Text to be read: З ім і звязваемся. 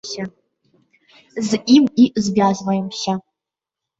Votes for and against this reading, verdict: 0, 2, rejected